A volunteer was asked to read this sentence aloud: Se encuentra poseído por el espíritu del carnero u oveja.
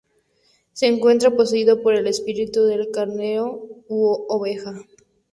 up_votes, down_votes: 0, 2